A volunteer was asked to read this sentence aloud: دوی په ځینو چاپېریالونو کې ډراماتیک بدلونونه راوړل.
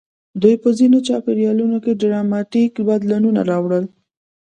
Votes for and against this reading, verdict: 0, 2, rejected